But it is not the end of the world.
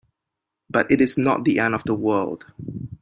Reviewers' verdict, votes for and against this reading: accepted, 2, 0